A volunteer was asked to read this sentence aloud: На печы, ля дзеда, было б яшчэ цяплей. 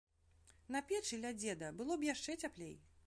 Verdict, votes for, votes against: accepted, 2, 0